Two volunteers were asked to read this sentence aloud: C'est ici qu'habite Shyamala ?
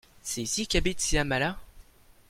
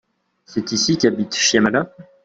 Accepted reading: second